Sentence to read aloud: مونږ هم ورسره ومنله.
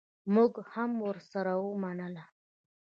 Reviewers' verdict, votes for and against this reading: accepted, 2, 0